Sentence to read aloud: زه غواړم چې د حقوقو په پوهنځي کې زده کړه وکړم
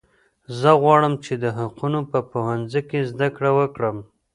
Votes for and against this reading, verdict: 1, 2, rejected